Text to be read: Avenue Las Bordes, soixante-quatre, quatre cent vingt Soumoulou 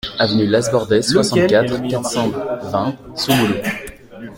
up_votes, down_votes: 1, 2